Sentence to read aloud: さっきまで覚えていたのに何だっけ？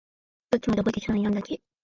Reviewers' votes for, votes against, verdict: 2, 1, accepted